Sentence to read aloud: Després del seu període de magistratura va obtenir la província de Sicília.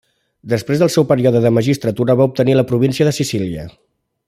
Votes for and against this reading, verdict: 1, 2, rejected